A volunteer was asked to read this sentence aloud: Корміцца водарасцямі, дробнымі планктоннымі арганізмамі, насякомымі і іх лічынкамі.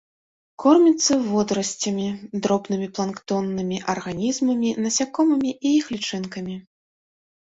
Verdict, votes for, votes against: accepted, 2, 0